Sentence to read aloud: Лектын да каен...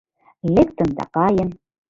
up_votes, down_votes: 2, 1